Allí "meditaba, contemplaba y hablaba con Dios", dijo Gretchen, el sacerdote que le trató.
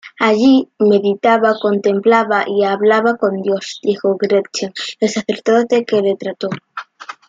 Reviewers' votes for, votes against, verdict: 2, 0, accepted